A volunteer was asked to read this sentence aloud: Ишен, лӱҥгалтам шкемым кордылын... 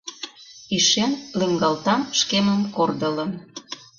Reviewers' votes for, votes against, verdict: 1, 2, rejected